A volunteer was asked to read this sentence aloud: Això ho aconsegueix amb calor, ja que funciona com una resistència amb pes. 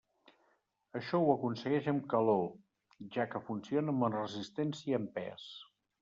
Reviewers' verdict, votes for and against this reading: rejected, 0, 2